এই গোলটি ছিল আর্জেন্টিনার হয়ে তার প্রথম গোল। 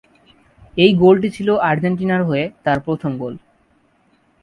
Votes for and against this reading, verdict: 4, 0, accepted